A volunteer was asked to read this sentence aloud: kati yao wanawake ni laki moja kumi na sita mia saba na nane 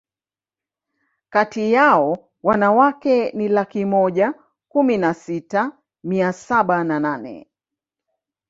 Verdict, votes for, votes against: rejected, 0, 2